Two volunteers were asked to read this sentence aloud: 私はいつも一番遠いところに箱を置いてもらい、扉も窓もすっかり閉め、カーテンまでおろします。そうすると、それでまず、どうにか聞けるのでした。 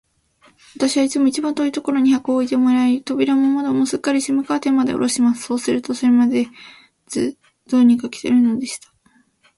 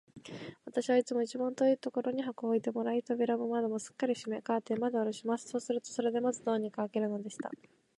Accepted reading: second